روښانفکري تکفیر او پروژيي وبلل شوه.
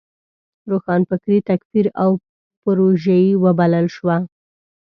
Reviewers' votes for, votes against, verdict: 2, 0, accepted